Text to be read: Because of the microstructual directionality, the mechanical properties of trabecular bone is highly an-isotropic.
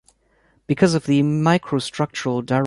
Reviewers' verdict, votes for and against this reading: rejected, 0, 2